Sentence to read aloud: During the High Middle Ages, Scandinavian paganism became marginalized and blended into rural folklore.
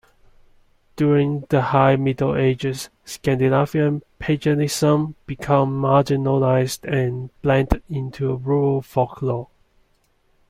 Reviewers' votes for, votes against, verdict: 2, 1, accepted